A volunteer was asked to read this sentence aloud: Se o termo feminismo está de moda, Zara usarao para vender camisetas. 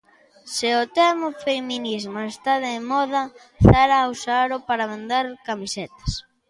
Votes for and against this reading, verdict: 0, 2, rejected